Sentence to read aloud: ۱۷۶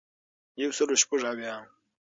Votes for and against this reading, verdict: 0, 2, rejected